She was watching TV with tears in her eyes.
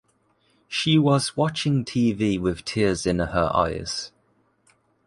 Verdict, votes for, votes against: accepted, 2, 0